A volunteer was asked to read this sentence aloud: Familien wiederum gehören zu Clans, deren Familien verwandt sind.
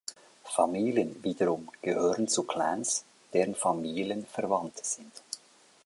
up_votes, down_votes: 2, 0